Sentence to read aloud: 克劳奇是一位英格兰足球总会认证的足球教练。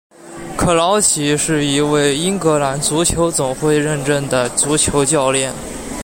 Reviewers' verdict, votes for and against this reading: accepted, 2, 0